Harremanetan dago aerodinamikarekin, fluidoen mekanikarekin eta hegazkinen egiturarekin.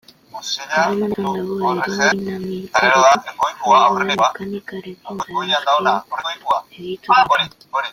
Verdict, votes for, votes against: rejected, 0, 2